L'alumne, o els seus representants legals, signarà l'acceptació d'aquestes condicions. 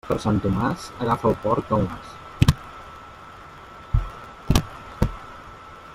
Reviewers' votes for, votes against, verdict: 0, 2, rejected